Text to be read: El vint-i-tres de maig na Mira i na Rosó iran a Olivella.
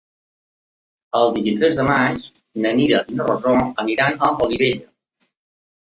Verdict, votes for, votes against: accepted, 2, 1